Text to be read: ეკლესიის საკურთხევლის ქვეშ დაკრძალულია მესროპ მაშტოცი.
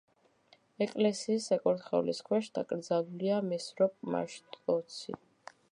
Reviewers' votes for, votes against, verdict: 1, 2, rejected